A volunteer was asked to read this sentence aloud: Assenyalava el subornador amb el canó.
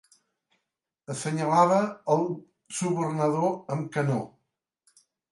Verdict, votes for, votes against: rejected, 1, 3